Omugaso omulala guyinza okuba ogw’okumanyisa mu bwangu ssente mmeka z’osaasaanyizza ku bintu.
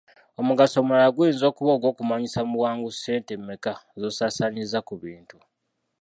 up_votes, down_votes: 2, 0